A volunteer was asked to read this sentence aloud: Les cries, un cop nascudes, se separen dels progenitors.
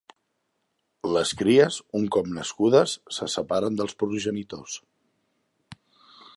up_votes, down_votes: 0, 2